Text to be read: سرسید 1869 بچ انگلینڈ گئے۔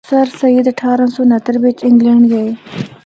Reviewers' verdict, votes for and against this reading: rejected, 0, 2